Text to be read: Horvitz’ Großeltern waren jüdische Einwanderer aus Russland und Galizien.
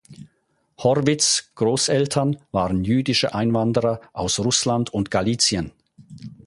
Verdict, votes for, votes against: accepted, 4, 0